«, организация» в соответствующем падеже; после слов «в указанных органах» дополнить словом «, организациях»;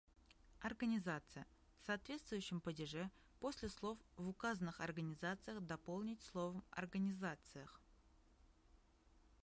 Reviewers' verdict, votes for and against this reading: rejected, 2, 5